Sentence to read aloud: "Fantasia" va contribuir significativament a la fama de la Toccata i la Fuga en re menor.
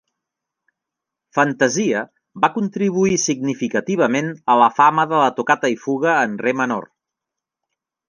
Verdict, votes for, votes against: rejected, 1, 2